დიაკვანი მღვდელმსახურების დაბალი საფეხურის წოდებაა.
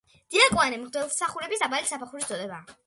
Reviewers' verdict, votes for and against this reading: accepted, 2, 0